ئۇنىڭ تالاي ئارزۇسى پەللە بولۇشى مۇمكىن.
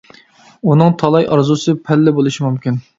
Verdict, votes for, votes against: accepted, 2, 0